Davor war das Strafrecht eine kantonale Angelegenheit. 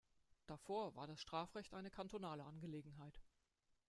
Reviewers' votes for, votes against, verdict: 1, 2, rejected